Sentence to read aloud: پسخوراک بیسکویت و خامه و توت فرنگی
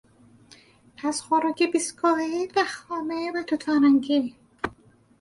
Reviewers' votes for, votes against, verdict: 2, 2, rejected